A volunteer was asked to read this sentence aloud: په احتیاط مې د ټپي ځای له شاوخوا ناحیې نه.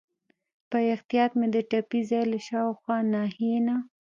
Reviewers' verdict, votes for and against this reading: rejected, 0, 2